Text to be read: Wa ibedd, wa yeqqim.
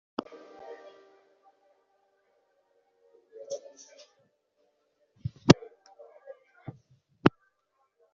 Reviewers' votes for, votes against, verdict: 0, 2, rejected